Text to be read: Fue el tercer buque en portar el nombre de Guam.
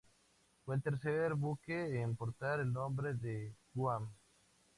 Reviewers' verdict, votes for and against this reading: accepted, 2, 0